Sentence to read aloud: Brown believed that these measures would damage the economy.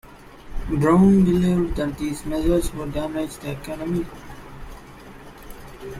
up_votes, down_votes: 2, 0